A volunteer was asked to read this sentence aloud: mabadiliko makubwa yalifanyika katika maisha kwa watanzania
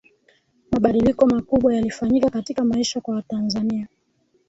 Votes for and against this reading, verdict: 0, 2, rejected